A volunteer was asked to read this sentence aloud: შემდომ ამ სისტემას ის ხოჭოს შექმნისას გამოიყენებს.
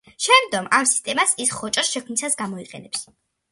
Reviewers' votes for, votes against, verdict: 2, 0, accepted